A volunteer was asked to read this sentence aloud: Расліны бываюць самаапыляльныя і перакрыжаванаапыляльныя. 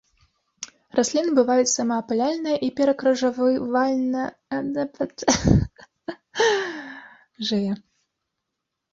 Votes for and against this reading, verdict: 0, 2, rejected